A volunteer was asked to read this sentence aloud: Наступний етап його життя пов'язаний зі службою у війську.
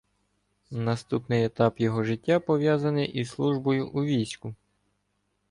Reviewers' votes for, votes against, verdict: 0, 2, rejected